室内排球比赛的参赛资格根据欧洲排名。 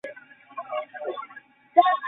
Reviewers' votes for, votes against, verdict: 0, 2, rejected